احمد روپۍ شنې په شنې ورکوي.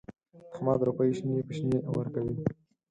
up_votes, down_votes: 2, 4